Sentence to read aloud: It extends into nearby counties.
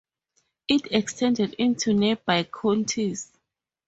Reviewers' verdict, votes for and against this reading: rejected, 0, 2